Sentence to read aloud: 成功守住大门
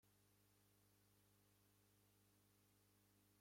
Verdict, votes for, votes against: rejected, 0, 2